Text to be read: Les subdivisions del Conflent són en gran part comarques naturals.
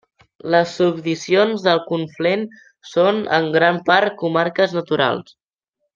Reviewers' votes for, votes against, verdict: 0, 2, rejected